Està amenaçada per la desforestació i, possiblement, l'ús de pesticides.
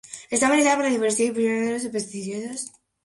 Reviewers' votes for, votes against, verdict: 0, 2, rejected